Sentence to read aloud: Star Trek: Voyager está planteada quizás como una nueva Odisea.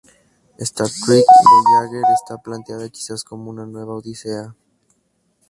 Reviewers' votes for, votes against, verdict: 2, 0, accepted